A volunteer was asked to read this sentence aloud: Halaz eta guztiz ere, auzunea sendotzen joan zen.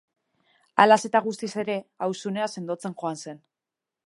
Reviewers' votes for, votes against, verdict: 2, 0, accepted